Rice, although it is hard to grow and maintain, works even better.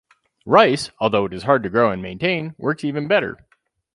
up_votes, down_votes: 2, 0